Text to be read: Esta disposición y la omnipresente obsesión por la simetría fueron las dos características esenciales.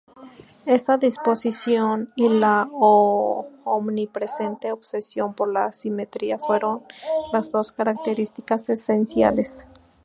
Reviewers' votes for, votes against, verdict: 0, 2, rejected